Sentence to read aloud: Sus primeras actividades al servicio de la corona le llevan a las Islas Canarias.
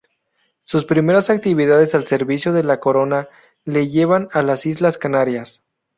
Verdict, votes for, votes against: rejected, 2, 2